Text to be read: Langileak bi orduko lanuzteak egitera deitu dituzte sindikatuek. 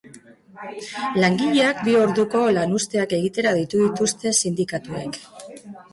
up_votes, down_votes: 2, 0